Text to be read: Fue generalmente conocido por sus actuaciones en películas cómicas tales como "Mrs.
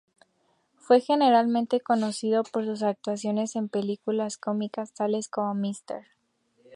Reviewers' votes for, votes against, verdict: 2, 0, accepted